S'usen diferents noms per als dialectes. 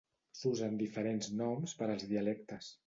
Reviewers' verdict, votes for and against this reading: accepted, 2, 0